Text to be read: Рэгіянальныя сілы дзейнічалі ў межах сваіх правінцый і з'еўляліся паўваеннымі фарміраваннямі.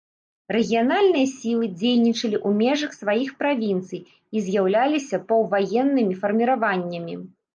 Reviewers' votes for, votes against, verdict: 0, 2, rejected